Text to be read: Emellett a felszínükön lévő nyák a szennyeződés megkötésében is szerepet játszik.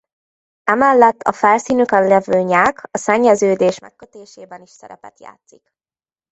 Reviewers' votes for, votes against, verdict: 0, 2, rejected